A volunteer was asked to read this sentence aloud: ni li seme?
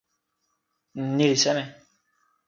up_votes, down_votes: 2, 0